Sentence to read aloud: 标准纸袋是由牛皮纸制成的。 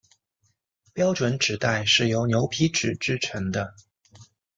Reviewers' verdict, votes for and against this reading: accepted, 2, 0